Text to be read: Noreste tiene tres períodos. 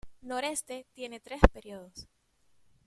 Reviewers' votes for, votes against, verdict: 2, 0, accepted